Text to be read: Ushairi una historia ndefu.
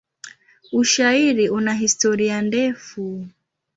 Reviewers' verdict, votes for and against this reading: accepted, 2, 0